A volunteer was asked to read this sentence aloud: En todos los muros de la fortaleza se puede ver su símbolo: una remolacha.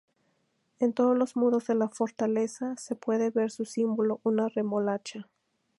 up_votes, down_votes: 2, 0